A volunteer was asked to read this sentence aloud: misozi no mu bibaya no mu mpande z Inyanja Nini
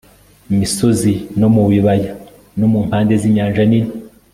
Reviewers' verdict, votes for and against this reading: accepted, 2, 0